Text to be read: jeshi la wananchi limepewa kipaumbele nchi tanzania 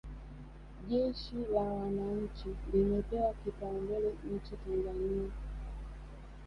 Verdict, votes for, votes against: rejected, 1, 2